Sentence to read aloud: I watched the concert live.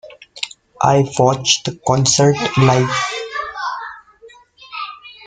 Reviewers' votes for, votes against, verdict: 0, 2, rejected